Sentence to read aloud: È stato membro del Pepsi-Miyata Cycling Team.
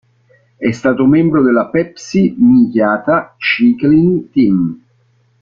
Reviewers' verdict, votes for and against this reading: rejected, 0, 2